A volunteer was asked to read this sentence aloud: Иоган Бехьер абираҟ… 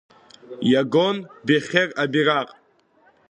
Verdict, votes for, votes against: rejected, 1, 2